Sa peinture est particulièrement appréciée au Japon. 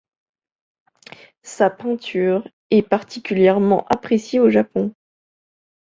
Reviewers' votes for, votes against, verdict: 1, 3, rejected